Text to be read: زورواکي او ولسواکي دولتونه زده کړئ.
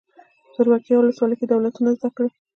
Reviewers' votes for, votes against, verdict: 1, 2, rejected